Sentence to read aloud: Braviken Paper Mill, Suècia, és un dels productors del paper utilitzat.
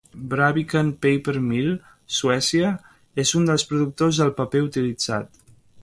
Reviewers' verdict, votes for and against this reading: accepted, 2, 0